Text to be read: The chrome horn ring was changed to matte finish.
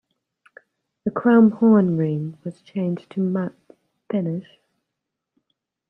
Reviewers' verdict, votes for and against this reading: accepted, 2, 1